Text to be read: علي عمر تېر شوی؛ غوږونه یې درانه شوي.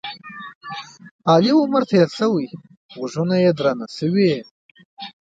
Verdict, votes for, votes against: rejected, 1, 2